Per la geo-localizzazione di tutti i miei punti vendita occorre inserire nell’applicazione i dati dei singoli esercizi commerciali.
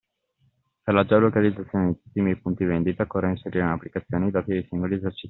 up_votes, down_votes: 0, 2